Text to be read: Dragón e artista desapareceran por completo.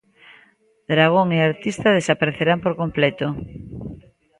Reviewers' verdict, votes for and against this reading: rejected, 1, 2